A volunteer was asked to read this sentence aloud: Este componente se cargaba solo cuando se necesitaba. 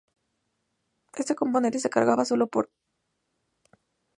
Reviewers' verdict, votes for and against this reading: rejected, 0, 4